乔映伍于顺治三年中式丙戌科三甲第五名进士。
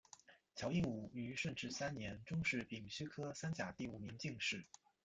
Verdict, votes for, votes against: rejected, 1, 2